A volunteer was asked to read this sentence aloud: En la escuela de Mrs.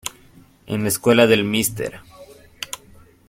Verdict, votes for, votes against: rejected, 0, 2